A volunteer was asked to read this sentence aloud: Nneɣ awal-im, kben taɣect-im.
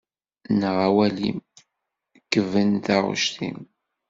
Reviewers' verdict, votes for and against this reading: rejected, 0, 2